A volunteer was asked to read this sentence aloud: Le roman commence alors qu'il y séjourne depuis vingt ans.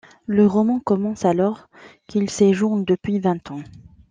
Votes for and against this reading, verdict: 1, 2, rejected